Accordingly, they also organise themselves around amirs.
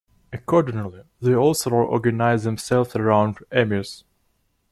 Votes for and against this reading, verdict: 2, 1, accepted